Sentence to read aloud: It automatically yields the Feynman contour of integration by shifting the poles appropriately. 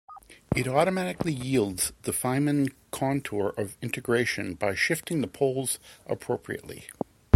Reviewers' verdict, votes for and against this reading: accepted, 2, 0